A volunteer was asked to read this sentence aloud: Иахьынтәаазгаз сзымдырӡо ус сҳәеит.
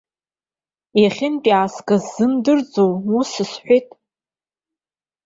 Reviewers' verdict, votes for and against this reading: rejected, 1, 2